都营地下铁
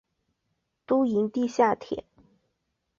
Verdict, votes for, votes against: accepted, 2, 0